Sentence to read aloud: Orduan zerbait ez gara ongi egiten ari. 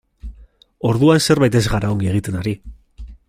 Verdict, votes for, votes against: accepted, 2, 1